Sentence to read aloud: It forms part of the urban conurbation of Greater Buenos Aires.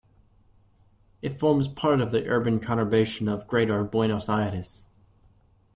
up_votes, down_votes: 2, 0